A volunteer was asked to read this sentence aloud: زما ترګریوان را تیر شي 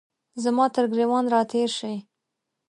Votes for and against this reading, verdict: 3, 0, accepted